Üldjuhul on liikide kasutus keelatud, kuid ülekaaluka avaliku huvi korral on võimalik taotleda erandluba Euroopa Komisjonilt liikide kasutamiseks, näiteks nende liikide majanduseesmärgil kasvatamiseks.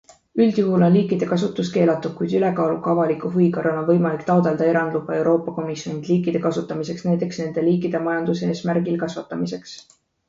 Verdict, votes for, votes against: rejected, 0, 2